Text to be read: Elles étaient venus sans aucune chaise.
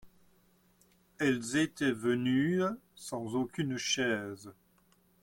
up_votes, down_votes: 2, 0